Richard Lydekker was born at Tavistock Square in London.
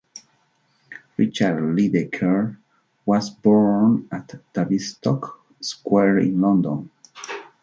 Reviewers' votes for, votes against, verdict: 2, 0, accepted